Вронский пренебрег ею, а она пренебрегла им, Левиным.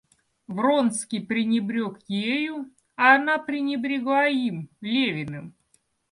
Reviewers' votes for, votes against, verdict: 2, 0, accepted